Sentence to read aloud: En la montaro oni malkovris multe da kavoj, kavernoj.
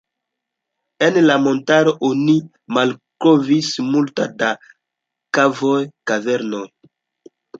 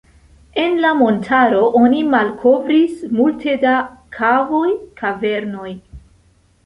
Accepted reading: first